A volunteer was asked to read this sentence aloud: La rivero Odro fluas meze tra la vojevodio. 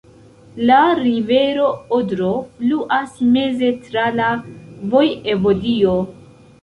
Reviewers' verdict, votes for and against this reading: rejected, 0, 2